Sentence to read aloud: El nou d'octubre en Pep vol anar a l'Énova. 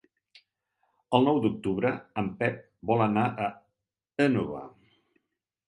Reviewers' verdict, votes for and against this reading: rejected, 1, 2